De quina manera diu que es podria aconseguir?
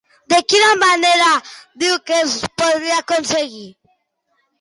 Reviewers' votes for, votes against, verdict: 2, 0, accepted